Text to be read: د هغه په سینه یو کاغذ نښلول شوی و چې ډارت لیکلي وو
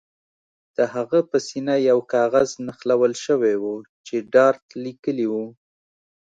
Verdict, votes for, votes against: accepted, 2, 0